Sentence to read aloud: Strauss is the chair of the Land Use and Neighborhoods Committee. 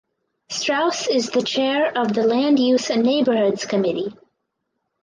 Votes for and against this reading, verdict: 4, 0, accepted